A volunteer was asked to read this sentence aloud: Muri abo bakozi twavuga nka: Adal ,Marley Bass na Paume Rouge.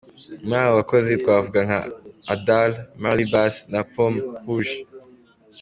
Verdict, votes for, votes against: accepted, 2, 0